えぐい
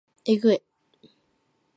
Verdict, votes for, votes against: accepted, 2, 1